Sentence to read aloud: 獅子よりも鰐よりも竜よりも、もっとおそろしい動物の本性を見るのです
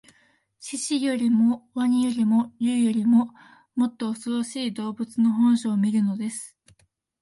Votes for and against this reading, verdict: 4, 0, accepted